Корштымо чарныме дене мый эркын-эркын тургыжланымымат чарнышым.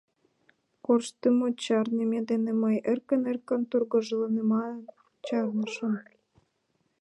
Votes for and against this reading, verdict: 0, 2, rejected